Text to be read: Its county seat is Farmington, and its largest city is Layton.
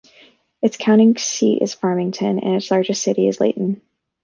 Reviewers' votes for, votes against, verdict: 1, 2, rejected